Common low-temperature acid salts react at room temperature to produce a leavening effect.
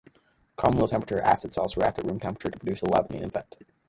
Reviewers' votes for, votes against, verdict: 0, 2, rejected